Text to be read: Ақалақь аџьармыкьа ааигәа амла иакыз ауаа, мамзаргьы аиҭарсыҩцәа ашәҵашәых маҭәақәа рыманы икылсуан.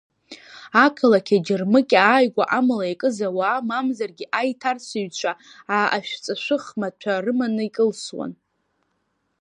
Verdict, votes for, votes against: rejected, 1, 2